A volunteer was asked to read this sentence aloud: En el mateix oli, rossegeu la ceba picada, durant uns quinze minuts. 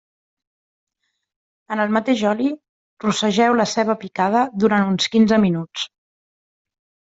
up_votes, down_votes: 3, 0